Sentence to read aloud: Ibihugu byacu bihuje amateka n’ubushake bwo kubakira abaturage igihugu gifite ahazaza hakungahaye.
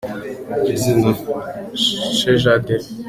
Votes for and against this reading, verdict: 0, 2, rejected